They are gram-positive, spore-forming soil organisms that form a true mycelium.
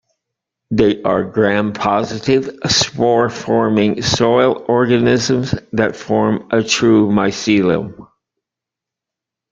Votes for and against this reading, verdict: 2, 0, accepted